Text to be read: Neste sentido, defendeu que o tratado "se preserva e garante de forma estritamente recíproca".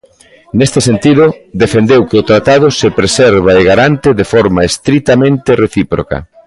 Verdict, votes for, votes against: rejected, 0, 2